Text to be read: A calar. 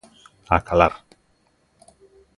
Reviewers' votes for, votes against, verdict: 2, 0, accepted